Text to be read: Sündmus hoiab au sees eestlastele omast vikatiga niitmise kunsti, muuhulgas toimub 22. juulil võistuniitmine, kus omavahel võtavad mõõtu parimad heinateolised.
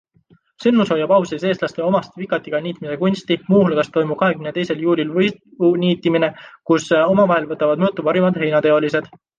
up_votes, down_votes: 0, 2